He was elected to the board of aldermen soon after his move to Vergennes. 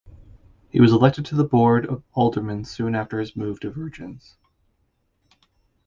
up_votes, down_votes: 2, 0